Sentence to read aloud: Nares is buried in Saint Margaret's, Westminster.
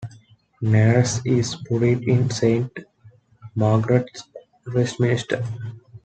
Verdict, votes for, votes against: rejected, 0, 2